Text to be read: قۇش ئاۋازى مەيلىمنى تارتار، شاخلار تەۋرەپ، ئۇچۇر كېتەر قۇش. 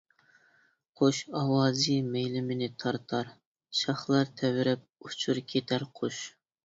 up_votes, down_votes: 2, 0